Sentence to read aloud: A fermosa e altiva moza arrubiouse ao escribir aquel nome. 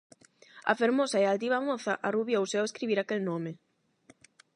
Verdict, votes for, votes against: accepted, 8, 0